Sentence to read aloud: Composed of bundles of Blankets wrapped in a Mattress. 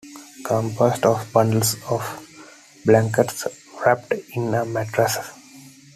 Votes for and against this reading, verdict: 2, 0, accepted